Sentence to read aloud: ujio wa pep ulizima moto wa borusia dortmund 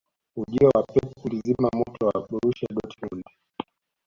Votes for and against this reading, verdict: 2, 0, accepted